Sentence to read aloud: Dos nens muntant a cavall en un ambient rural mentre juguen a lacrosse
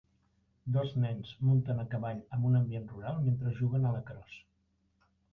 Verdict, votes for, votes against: accepted, 2, 0